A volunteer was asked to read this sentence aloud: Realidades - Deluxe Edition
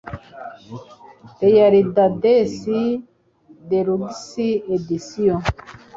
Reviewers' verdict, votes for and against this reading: rejected, 2, 4